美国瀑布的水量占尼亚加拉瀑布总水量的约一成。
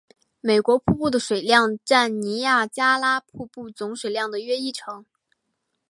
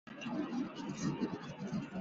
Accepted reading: first